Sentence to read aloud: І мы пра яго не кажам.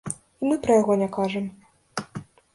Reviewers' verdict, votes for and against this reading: rejected, 1, 2